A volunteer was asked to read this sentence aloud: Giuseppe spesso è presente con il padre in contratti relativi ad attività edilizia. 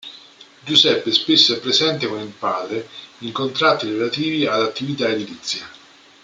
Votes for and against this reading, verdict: 2, 1, accepted